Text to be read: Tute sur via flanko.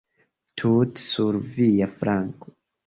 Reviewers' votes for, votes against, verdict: 2, 1, accepted